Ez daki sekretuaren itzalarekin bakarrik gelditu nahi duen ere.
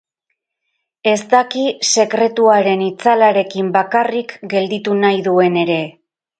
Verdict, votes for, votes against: accepted, 4, 0